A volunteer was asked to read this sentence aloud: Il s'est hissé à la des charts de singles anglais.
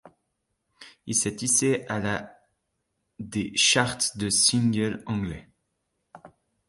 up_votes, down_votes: 0, 2